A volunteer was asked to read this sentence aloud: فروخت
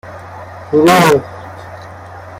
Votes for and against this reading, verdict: 1, 2, rejected